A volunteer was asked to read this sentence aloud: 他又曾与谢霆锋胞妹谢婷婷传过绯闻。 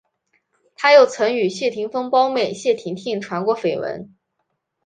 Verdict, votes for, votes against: accepted, 4, 0